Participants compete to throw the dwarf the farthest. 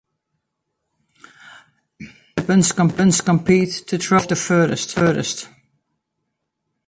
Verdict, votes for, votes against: rejected, 0, 3